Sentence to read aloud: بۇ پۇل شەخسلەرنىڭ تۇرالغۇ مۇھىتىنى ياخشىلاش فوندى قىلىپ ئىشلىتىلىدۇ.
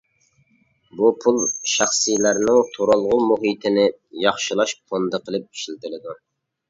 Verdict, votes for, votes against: rejected, 0, 2